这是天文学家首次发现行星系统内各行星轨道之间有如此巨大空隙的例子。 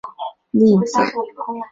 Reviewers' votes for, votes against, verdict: 0, 4, rejected